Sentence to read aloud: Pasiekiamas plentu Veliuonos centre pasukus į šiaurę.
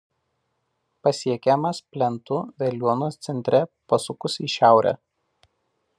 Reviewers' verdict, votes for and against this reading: accepted, 2, 0